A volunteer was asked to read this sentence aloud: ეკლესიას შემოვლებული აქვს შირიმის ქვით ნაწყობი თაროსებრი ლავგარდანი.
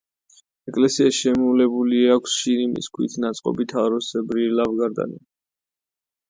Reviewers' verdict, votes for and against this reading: accepted, 2, 0